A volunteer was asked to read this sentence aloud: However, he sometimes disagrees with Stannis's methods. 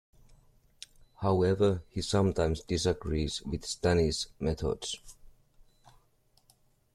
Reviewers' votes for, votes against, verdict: 1, 2, rejected